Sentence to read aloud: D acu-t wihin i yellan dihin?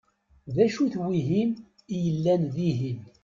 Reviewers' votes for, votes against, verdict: 2, 0, accepted